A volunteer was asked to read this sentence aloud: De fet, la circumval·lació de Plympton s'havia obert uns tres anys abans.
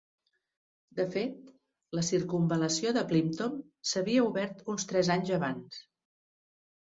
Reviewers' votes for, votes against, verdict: 2, 0, accepted